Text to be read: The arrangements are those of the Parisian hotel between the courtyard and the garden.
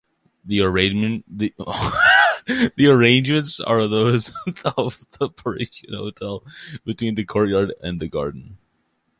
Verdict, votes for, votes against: rejected, 1, 2